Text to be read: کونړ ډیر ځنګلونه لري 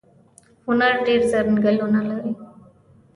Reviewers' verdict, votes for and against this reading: rejected, 1, 2